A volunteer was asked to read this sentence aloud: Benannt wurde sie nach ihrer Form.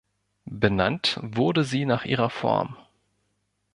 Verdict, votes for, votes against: accepted, 2, 1